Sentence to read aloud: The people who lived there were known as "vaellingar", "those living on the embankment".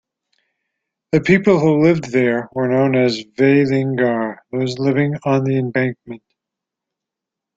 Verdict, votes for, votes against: accepted, 2, 0